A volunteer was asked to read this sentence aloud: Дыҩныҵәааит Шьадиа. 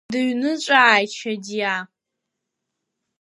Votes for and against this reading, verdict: 2, 0, accepted